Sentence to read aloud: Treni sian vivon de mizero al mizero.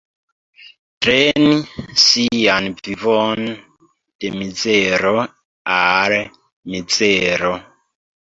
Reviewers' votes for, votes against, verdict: 1, 2, rejected